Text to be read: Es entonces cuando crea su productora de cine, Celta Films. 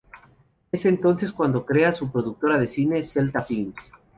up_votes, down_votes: 0, 2